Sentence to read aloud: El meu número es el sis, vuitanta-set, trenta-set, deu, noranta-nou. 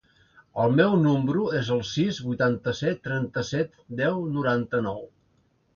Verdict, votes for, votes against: rejected, 1, 2